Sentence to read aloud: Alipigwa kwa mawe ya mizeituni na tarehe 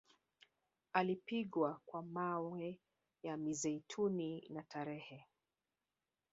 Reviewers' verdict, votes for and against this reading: rejected, 1, 2